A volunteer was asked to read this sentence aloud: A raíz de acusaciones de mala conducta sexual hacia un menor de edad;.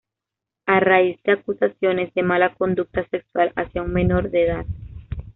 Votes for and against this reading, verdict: 2, 0, accepted